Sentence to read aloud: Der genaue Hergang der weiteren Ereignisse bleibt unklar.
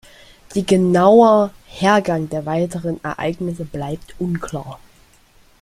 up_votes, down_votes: 0, 2